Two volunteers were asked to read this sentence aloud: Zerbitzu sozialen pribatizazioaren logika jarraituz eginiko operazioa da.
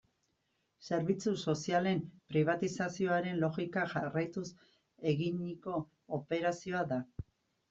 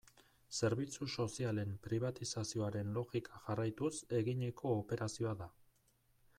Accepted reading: second